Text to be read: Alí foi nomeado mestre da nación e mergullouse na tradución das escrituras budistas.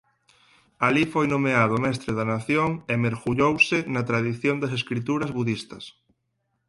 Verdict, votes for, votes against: rejected, 0, 4